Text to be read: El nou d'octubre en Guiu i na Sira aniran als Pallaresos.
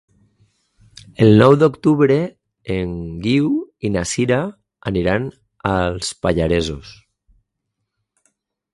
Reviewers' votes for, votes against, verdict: 4, 0, accepted